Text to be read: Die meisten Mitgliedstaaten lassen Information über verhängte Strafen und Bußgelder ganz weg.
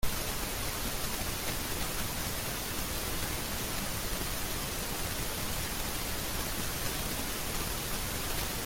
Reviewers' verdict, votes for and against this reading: rejected, 0, 2